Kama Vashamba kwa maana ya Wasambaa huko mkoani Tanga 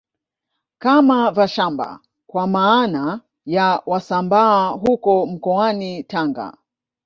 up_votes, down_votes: 0, 2